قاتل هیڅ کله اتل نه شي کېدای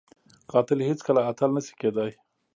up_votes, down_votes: 2, 0